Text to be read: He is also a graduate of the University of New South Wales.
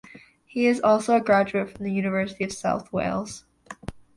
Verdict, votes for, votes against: accepted, 2, 1